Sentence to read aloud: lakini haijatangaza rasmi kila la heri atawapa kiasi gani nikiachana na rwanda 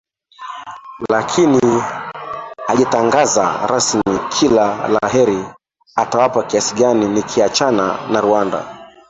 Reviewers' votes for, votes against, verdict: 0, 2, rejected